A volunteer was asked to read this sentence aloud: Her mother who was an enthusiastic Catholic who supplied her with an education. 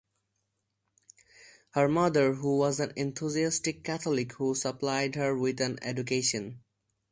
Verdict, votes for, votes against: accepted, 4, 0